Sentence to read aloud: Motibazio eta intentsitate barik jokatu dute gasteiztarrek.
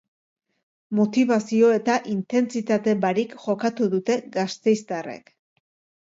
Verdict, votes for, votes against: accepted, 3, 0